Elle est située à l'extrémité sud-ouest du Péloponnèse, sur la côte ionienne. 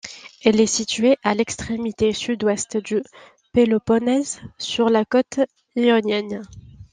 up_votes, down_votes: 2, 1